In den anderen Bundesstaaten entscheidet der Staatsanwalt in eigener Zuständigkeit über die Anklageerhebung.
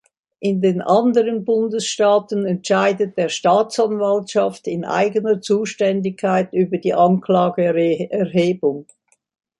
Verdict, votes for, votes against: rejected, 0, 2